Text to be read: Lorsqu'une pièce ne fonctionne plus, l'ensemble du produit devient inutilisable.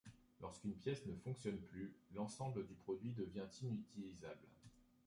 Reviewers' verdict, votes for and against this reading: rejected, 1, 2